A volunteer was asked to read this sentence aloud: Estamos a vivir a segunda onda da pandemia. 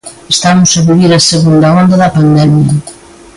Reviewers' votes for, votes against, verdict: 2, 0, accepted